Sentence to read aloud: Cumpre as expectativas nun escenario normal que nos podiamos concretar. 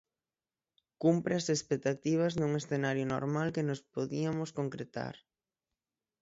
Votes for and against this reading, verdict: 0, 6, rejected